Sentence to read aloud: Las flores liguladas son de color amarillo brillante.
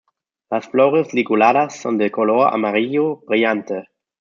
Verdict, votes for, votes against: rejected, 1, 2